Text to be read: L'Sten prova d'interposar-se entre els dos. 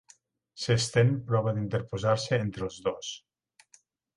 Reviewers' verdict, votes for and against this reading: rejected, 2, 4